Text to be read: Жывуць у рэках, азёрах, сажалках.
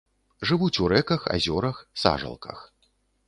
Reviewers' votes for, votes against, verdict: 2, 0, accepted